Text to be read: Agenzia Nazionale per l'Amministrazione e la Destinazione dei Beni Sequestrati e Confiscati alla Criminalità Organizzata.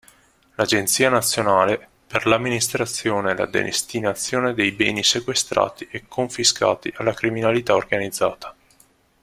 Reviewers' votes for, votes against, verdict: 2, 0, accepted